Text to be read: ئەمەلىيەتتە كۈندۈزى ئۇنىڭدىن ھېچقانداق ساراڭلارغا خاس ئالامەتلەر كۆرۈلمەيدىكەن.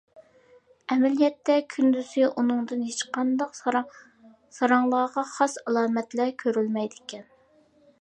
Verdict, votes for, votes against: accepted, 2, 1